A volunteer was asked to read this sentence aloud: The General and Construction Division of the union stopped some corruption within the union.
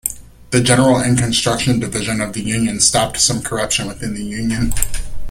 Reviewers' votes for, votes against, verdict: 2, 1, accepted